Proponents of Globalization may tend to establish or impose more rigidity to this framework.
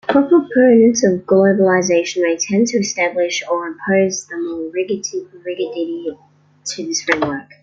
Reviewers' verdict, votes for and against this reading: rejected, 0, 2